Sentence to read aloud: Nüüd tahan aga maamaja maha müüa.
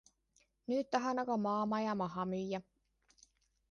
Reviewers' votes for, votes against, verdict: 2, 0, accepted